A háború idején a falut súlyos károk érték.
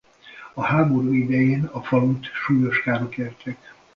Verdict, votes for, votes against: accepted, 2, 0